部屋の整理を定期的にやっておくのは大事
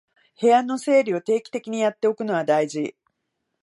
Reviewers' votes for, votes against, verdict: 2, 0, accepted